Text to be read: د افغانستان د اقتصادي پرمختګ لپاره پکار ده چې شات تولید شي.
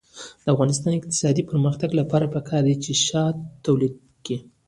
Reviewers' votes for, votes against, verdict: 0, 2, rejected